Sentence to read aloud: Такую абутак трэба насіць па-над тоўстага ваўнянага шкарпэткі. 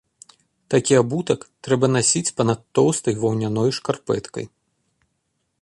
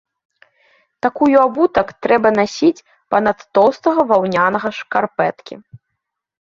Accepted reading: second